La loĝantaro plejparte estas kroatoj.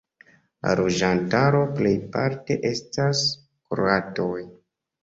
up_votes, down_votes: 1, 2